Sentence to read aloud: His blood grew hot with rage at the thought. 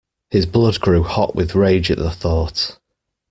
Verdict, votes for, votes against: accepted, 2, 0